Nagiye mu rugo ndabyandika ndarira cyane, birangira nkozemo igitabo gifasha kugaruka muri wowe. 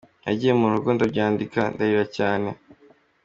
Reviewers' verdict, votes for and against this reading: rejected, 0, 3